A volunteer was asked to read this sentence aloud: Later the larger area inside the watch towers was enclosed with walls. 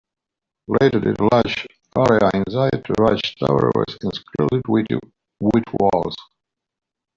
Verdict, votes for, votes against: rejected, 0, 2